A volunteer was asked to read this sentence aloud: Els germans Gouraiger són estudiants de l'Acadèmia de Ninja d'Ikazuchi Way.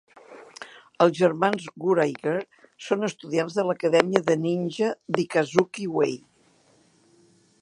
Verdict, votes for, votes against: rejected, 0, 2